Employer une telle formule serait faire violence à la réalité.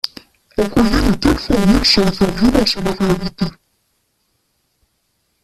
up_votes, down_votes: 0, 2